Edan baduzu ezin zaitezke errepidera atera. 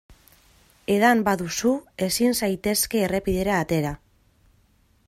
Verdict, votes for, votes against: accepted, 2, 0